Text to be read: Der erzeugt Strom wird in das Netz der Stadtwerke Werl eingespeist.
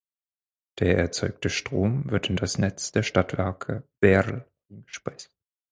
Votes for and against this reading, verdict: 2, 4, rejected